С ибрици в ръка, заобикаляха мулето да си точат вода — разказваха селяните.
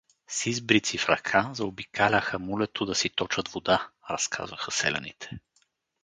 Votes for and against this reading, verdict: 2, 2, rejected